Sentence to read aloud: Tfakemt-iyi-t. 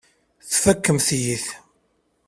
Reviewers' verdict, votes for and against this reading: accepted, 2, 0